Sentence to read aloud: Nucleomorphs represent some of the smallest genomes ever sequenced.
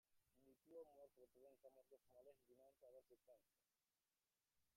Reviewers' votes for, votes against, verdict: 1, 2, rejected